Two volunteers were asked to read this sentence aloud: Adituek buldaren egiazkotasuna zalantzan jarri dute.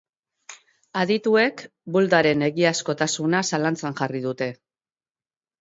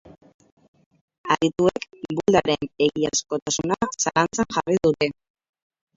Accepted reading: first